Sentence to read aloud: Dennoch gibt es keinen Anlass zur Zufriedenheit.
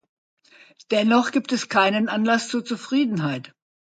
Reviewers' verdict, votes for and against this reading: accepted, 2, 0